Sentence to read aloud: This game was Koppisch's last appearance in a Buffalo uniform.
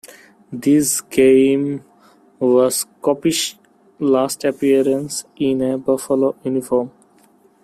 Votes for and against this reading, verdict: 1, 2, rejected